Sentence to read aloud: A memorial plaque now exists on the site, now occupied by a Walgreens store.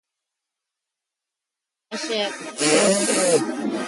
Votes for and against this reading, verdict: 0, 2, rejected